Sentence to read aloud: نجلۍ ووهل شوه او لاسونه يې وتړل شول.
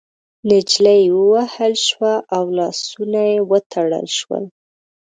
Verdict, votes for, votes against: rejected, 1, 2